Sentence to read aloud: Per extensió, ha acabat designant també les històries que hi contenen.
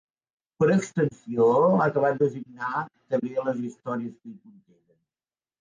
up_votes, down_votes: 0, 5